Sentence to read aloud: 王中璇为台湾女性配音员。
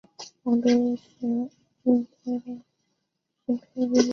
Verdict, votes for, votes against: rejected, 0, 3